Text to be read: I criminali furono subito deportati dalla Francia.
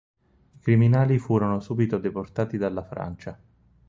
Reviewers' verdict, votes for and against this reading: rejected, 2, 4